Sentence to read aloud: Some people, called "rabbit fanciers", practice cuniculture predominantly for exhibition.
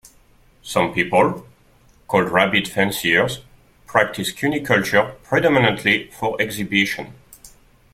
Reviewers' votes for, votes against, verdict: 2, 0, accepted